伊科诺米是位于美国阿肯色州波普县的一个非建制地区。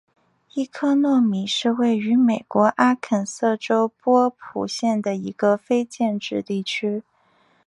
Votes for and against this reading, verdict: 2, 1, accepted